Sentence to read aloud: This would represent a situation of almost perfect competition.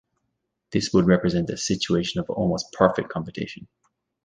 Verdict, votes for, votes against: accepted, 2, 0